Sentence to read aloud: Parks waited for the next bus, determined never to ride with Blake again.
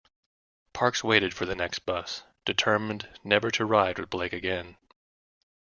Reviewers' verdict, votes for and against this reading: accepted, 2, 0